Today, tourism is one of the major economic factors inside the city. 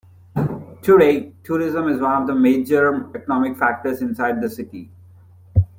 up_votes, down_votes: 2, 0